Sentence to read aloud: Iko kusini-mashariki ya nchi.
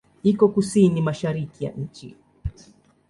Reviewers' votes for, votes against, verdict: 2, 0, accepted